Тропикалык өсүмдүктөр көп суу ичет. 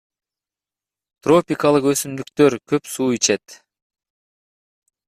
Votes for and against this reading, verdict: 1, 3, rejected